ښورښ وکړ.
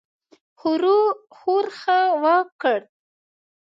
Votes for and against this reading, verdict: 1, 2, rejected